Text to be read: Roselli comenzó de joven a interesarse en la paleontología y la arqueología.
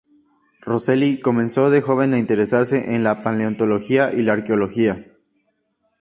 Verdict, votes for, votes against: accepted, 2, 0